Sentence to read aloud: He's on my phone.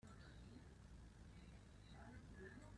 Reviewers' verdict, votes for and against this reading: rejected, 0, 2